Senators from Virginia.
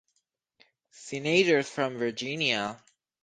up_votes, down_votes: 4, 0